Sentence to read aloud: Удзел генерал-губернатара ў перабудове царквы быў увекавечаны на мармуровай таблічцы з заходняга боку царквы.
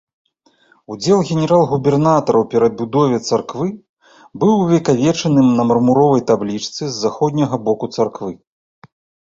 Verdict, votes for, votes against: accepted, 2, 0